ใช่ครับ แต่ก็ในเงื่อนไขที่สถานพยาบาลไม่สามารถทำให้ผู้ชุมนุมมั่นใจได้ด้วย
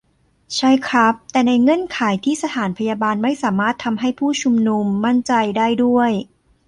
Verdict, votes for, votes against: rejected, 0, 2